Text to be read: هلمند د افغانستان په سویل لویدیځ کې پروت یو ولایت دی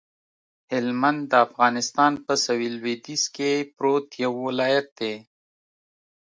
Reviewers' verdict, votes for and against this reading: accepted, 2, 0